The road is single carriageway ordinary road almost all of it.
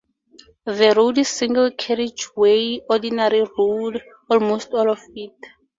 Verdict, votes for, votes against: accepted, 10, 2